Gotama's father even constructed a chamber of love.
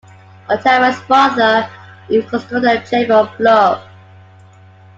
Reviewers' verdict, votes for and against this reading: rejected, 0, 2